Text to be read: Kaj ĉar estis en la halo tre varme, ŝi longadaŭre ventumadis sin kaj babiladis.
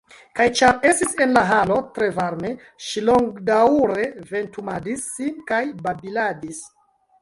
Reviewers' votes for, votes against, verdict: 2, 0, accepted